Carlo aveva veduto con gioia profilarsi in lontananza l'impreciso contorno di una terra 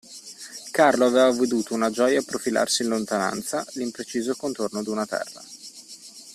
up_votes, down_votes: 1, 2